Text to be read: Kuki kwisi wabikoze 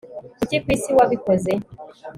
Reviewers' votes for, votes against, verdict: 2, 0, accepted